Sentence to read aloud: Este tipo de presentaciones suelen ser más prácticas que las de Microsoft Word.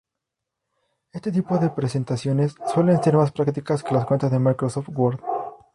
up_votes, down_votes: 2, 0